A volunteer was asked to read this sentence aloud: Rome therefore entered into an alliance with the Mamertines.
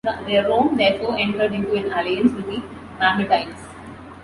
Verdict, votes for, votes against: rejected, 0, 2